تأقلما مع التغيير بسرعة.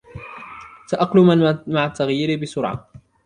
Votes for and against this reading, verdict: 0, 2, rejected